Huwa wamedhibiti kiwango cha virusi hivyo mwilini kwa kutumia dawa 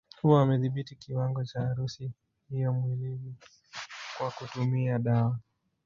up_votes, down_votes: 1, 2